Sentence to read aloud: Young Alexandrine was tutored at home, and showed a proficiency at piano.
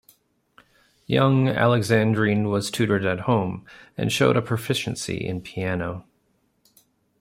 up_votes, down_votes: 0, 2